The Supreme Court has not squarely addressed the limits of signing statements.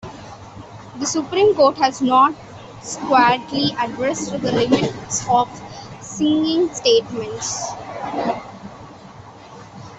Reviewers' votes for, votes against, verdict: 0, 2, rejected